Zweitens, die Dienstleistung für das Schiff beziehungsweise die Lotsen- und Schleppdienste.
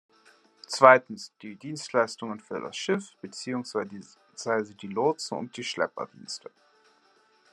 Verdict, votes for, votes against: rejected, 0, 2